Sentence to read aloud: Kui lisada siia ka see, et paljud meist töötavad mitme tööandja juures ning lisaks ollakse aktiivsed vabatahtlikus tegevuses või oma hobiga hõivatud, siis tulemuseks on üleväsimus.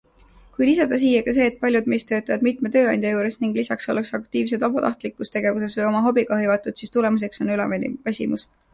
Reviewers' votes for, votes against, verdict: 1, 2, rejected